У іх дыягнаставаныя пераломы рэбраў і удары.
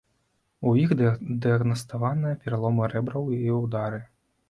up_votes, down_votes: 1, 2